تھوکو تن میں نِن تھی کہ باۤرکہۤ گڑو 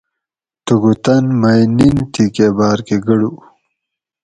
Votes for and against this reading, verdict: 2, 4, rejected